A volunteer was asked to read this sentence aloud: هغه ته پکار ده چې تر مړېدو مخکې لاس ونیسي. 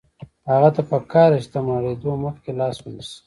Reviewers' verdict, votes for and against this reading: accepted, 2, 0